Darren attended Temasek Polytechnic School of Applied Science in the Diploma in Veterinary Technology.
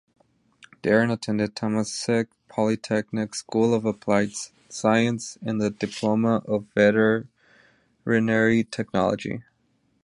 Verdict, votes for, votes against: rejected, 1, 2